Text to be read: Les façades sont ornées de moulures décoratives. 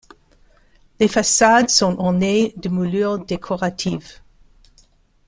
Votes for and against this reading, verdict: 2, 0, accepted